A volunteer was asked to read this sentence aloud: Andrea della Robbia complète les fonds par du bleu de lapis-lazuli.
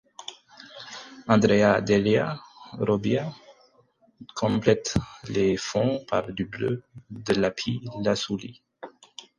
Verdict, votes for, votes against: rejected, 0, 4